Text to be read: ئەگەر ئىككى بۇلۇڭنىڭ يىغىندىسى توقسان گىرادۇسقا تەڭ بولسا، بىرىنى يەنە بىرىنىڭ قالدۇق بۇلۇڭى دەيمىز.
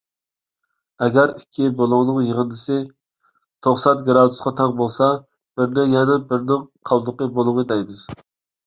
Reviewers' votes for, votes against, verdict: 1, 2, rejected